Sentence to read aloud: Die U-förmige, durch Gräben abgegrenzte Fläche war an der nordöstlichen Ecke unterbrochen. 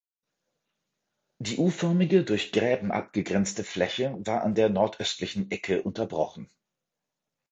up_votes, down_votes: 2, 0